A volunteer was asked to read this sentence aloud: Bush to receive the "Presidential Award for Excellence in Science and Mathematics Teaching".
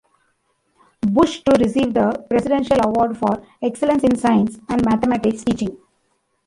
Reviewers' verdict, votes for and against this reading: rejected, 1, 2